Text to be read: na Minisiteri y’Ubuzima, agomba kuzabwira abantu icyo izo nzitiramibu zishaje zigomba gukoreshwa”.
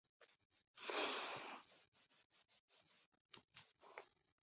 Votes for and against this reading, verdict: 0, 2, rejected